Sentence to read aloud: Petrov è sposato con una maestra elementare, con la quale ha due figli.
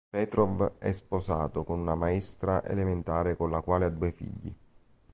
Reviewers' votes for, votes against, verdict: 1, 2, rejected